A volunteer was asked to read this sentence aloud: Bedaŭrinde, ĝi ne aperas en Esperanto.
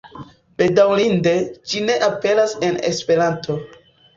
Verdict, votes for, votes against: accepted, 2, 1